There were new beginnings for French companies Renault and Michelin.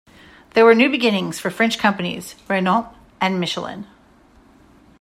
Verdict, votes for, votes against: accepted, 2, 0